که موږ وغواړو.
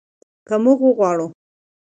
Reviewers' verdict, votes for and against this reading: accepted, 2, 0